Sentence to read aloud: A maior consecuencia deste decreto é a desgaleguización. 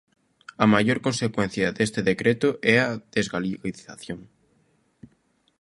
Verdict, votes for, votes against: rejected, 1, 2